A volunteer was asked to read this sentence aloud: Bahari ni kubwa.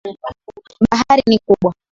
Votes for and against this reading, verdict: 2, 0, accepted